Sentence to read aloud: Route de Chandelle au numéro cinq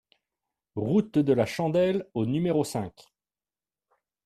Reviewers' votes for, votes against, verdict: 1, 2, rejected